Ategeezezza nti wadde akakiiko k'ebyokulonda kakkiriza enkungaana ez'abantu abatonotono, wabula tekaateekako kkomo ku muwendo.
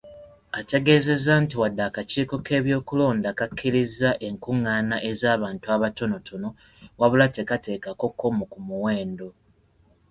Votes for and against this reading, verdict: 2, 0, accepted